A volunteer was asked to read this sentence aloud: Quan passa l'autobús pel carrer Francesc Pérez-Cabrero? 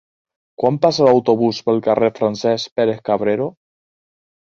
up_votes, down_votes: 2, 0